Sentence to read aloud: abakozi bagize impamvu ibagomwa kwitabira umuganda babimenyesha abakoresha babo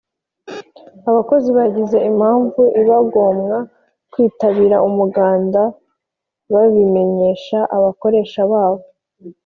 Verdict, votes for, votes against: accepted, 4, 1